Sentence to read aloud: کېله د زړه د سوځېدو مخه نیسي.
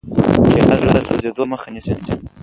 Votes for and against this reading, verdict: 0, 2, rejected